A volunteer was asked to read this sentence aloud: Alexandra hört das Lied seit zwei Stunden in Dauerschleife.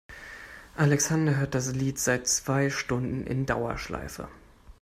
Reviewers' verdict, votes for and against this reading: rejected, 0, 2